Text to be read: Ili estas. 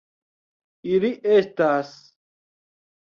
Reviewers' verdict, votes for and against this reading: accepted, 2, 1